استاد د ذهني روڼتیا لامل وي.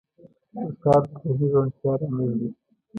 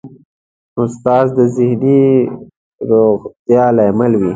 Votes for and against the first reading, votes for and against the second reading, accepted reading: 2, 0, 0, 2, first